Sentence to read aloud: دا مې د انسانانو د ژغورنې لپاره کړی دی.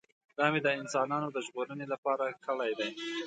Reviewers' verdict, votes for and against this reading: accepted, 2, 0